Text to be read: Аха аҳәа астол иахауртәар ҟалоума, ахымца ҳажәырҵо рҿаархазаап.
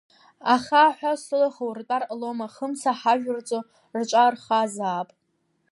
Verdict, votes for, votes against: rejected, 1, 2